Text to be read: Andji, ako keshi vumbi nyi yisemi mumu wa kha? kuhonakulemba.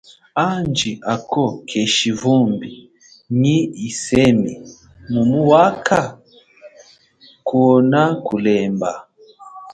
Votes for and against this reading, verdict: 1, 2, rejected